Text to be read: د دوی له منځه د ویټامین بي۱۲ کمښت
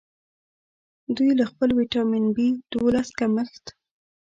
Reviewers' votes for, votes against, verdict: 0, 2, rejected